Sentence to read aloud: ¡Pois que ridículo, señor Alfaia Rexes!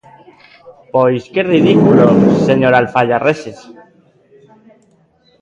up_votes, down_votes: 0, 2